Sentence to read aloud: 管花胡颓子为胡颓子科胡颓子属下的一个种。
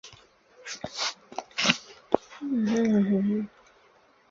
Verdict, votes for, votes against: rejected, 0, 2